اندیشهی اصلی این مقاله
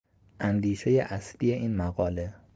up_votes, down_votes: 2, 0